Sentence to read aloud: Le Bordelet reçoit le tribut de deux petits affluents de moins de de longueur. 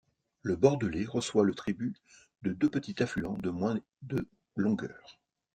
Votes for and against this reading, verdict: 0, 2, rejected